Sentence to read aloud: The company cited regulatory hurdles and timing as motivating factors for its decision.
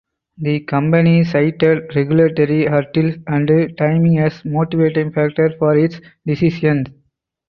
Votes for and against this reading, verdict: 4, 2, accepted